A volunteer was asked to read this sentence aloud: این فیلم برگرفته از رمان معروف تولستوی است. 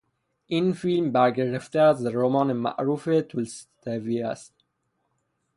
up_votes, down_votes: 0, 3